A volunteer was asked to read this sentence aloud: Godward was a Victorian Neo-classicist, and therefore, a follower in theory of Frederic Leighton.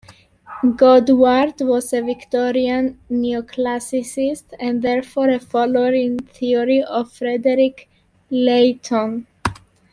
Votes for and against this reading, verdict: 2, 1, accepted